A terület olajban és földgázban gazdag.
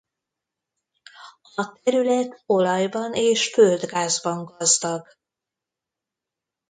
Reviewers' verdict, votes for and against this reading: rejected, 1, 2